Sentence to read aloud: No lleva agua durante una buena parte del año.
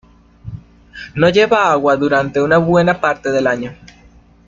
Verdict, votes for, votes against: accepted, 2, 0